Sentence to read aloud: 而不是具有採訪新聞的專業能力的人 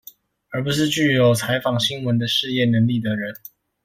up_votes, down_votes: 1, 2